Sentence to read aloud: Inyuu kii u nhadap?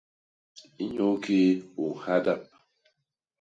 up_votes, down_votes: 2, 0